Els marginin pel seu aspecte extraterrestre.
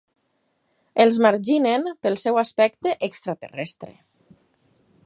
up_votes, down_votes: 2, 4